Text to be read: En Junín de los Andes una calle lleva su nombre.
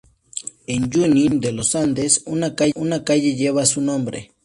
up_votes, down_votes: 2, 2